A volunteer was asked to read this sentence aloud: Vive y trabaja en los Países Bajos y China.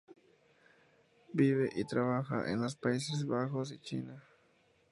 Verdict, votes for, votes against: accepted, 2, 0